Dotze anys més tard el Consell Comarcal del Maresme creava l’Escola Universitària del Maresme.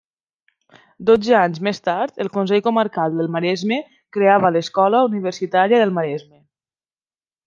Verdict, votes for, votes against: accepted, 3, 0